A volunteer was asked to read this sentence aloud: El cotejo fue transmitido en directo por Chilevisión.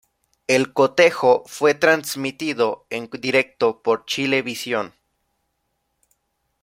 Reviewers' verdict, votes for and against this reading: accepted, 2, 0